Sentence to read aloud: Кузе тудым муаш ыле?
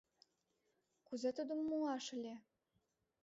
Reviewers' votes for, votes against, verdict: 2, 0, accepted